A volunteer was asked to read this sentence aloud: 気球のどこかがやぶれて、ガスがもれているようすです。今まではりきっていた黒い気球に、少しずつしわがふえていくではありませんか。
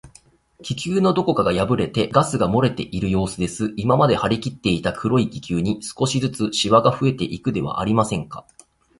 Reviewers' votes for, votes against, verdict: 2, 0, accepted